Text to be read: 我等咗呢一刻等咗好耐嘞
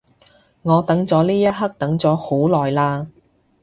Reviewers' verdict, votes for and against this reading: accepted, 2, 0